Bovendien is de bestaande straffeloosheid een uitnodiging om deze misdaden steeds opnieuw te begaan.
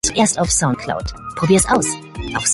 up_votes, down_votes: 0, 2